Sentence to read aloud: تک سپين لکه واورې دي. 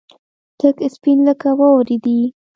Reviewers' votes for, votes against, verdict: 1, 2, rejected